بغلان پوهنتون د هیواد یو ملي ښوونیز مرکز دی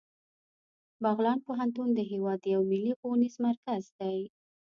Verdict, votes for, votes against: rejected, 0, 2